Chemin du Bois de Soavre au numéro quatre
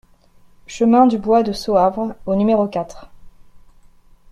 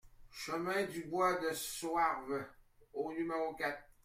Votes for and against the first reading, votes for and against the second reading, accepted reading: 2, 0, 1, 2, first